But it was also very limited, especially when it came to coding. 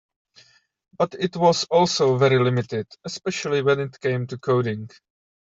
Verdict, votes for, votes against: accepted, 2, 0